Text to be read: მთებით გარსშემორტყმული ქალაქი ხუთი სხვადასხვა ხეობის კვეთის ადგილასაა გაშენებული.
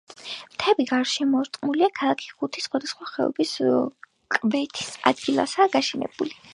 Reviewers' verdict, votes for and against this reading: accepted, 2, 0